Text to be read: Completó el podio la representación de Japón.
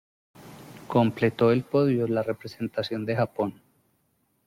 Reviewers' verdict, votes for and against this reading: accepted, 2, 0